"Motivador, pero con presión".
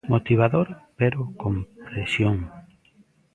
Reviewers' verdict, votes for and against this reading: rejected, 1, 2